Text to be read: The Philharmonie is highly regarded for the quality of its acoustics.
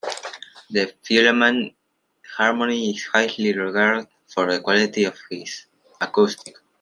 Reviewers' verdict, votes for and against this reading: rejected, 0, 2